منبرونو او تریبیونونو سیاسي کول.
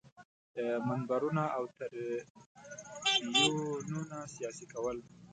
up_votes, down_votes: 1, 2